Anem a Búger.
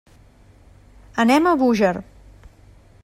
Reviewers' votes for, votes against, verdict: 3, 0, accepted